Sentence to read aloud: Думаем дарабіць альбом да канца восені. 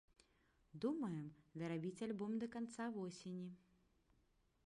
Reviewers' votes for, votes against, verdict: 1, 2, rejected